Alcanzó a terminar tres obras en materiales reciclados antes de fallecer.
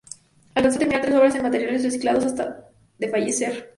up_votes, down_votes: 0, 4